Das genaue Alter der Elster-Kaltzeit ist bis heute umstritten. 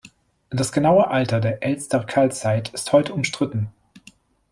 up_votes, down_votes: 1, 2